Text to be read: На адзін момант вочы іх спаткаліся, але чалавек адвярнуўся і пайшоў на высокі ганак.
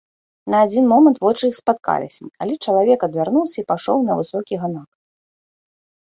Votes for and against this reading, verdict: 1, 2, rejected